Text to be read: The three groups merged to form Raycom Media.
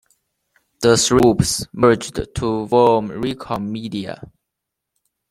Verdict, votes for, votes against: rejected, 0, 2